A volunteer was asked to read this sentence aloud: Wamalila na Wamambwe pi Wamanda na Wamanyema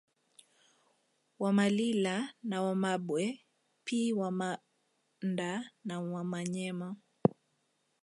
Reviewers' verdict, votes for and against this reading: accepted, 2, 0